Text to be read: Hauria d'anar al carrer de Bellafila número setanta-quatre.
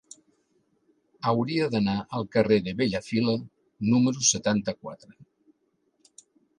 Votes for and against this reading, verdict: 4, 0, accepted